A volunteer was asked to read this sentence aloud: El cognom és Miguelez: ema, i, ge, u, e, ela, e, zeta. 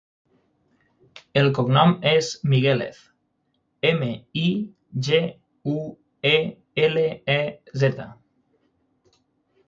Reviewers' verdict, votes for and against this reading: rejected, 0, 6